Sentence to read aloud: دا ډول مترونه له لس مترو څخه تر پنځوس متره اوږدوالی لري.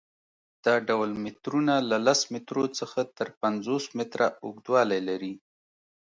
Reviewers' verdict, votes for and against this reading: accepted, 2, 0